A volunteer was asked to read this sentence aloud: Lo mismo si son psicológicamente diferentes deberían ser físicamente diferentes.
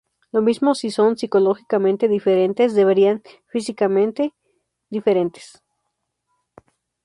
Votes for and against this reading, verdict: 0, 2, rejected